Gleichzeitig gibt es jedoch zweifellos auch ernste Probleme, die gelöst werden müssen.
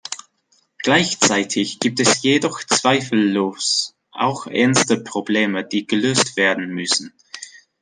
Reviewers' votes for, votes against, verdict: 2, 0, accepted